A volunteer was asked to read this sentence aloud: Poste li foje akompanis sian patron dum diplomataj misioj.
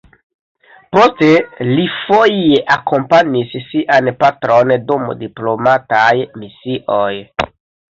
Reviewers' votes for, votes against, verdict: 1, 2, rejected